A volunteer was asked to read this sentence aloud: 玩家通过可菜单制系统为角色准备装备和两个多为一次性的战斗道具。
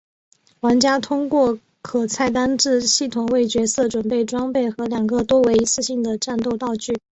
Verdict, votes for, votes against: accepted, 2, 0